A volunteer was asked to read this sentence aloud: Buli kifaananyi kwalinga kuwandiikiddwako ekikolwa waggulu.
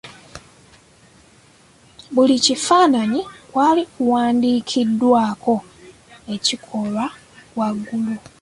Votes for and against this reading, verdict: 3, 4, rejected